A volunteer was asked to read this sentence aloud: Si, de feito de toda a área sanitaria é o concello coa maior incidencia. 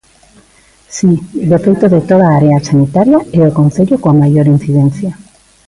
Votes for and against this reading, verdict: 2, 0, accepted